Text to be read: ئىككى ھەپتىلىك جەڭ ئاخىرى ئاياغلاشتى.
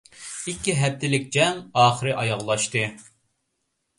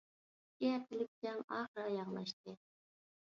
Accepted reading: first